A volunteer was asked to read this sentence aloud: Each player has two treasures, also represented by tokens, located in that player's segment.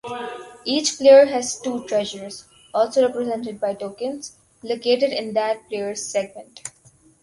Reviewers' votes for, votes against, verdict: 2, 2, rejected